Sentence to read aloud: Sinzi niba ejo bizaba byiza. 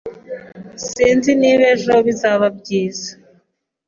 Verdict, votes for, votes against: accepted, 2, 0